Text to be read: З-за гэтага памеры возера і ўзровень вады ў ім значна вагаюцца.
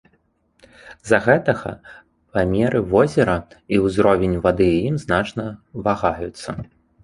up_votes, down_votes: 2, 0